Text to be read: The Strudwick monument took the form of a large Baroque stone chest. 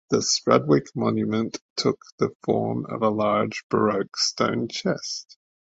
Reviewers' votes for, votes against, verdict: 2, 0, accepted